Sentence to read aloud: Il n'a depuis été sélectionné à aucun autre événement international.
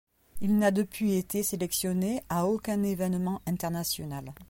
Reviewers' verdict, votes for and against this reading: rejected, 1, 2